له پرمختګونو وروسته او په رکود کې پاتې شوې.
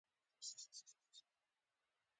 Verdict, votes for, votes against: rejected, 0, 3